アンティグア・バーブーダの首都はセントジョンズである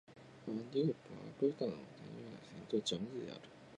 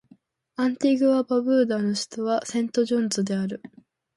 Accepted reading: second